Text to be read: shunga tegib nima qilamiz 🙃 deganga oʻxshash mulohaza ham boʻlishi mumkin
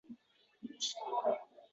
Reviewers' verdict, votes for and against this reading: rejected, 0, 2